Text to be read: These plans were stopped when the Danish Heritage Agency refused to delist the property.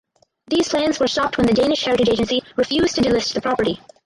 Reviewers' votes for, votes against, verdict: 2, 4, rejected